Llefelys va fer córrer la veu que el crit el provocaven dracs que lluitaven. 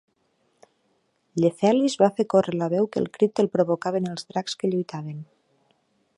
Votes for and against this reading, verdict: 3, 0, accepted